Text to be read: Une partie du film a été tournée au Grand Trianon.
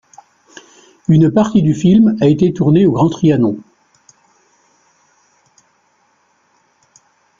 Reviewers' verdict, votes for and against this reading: accepted, 2, 0